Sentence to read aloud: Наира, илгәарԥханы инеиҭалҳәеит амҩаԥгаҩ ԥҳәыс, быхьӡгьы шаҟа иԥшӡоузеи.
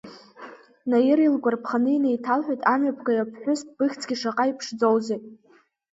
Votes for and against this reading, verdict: 6, 1, accepted